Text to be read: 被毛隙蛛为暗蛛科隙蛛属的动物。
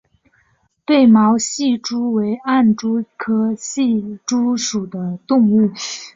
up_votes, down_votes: 4, 0